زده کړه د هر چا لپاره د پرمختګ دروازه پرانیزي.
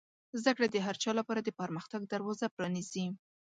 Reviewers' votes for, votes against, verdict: 2, 0, accepted